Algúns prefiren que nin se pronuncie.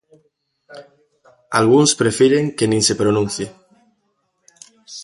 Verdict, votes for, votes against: accepted, 2, 1